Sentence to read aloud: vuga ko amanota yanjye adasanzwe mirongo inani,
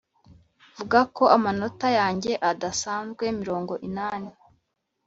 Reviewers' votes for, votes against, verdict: 2, 0, accepted